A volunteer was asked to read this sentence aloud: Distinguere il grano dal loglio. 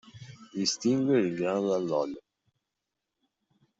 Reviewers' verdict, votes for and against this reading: rejected, 1, 2